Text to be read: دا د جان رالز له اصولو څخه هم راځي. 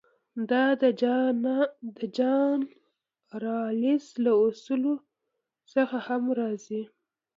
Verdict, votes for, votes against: rejected, 1, 2